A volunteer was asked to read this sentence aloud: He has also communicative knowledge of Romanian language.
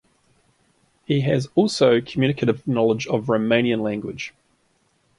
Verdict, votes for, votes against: accepted, 2, 0